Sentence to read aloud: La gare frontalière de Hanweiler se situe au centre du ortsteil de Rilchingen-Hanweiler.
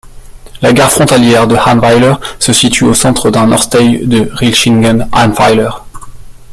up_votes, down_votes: 1, 2